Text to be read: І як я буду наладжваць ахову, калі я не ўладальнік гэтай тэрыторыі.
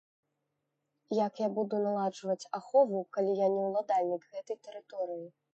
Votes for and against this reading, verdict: 1, 2, rejected